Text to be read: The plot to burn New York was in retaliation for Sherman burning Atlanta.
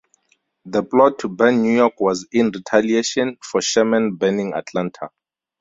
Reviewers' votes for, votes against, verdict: 2, 0, accepted